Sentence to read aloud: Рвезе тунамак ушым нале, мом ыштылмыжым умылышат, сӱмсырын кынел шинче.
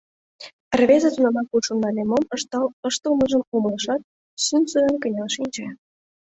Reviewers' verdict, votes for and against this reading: rejected, 2, 3